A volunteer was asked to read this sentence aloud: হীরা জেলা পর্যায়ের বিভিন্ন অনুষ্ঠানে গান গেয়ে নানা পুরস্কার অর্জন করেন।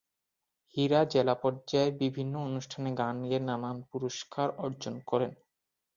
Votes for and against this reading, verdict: 30, 7, accepted